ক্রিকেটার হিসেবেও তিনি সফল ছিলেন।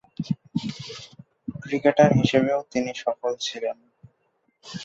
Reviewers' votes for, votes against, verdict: 0, 2, rejected